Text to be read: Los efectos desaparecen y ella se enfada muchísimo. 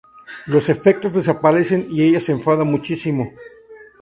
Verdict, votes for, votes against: accepted, 2, 0